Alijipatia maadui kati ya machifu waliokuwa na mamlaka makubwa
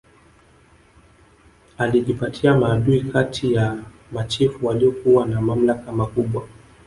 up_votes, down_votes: 3, 0